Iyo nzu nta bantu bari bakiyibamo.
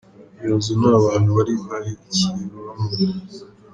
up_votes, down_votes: 1, 2